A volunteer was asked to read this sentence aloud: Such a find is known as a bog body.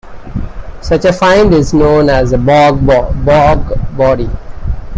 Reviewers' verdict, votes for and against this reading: rejected, 1, 2